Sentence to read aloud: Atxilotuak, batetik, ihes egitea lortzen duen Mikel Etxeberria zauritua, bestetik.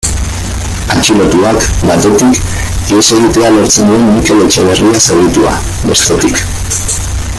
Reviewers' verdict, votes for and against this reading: rejected, 0, 2